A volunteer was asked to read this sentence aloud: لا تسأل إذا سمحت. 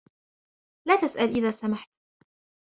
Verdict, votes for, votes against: accepted, 2, 0